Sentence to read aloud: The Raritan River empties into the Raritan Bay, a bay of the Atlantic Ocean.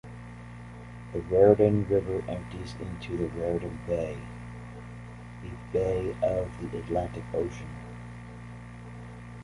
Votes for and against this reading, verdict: 0, 2, rejected